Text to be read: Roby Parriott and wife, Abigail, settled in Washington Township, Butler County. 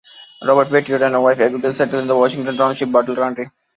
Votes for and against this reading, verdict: 0, 2, rejected